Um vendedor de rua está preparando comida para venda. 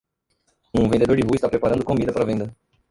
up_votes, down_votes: 1, 2